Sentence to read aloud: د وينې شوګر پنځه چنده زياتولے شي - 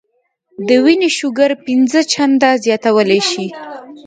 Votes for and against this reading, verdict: 2, 1, accepted